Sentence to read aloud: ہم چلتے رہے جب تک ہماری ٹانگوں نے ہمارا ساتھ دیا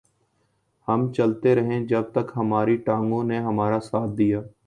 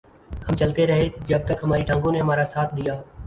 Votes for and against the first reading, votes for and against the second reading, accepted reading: 2, 0, 0, 2, first